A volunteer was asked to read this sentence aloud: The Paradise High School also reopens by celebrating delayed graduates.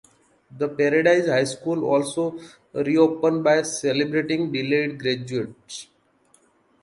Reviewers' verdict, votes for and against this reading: accepted, 2, 1